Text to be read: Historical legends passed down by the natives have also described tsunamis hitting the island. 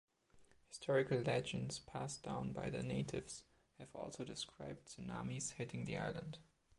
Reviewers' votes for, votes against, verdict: 1, 2, rejected